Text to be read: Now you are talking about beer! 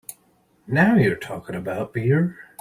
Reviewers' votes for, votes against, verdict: 2, 0, accepted